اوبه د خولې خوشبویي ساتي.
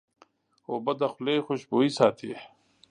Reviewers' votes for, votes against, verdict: 2, 0, accepted